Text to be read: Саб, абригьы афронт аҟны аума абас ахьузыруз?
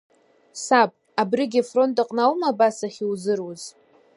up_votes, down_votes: 2, 1